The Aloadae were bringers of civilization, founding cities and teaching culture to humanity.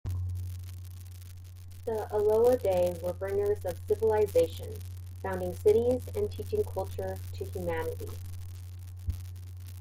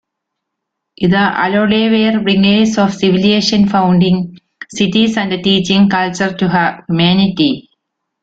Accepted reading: second